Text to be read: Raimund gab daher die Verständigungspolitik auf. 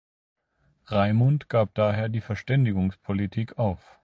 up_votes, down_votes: 2, 0